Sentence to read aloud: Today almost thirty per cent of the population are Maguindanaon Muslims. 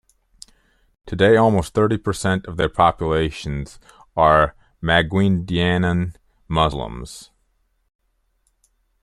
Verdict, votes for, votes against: accepted, 2, 1